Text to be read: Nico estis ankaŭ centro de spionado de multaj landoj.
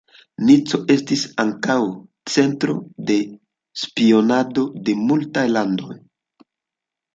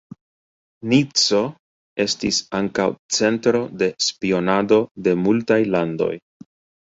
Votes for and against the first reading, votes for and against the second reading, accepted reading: 2, 0, 0, 2, first